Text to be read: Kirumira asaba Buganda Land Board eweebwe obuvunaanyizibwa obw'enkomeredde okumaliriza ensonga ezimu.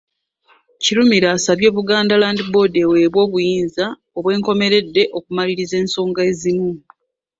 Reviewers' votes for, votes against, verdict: 0, 2, rejected